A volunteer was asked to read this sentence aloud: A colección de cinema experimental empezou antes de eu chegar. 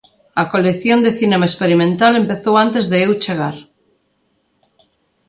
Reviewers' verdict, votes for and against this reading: accepted, 2, 0